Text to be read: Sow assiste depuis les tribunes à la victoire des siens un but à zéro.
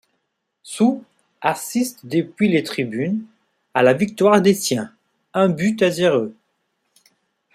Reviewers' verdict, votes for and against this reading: accepted, 2, 0